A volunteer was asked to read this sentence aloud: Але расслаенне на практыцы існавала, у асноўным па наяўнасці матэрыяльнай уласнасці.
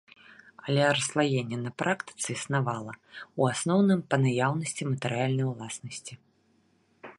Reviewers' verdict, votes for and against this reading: accepted, 3, 0